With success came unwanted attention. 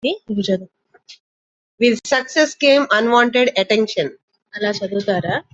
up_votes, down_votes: 0, 2